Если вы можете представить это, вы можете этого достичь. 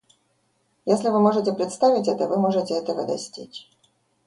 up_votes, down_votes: 1, 2